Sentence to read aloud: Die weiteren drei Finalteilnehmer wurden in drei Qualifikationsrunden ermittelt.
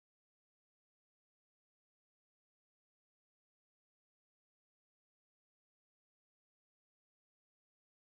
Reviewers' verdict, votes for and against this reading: rejected, 0, 2